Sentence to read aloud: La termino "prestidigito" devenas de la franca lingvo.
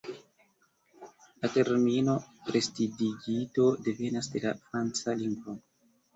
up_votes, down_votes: 3, 2